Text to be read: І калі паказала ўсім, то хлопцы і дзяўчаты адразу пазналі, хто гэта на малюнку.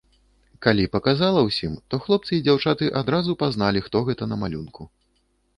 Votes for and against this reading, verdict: 0, 2, rejected